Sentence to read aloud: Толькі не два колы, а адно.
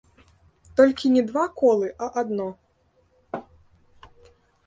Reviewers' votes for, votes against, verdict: 1, 2, rejected